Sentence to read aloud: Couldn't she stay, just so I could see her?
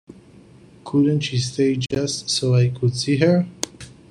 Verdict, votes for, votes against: accepted, 2, 0